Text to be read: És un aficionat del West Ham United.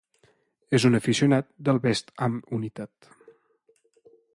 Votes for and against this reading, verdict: 2, 0, accepted